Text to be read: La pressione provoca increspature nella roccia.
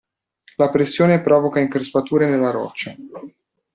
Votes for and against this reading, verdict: 2, 0, accepted